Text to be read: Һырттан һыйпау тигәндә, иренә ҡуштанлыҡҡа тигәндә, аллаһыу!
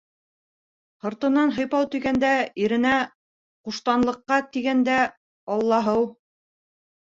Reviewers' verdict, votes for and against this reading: rejected, 0, 2